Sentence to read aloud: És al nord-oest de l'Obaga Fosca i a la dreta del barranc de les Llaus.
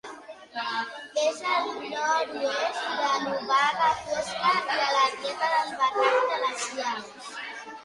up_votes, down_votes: 0, 2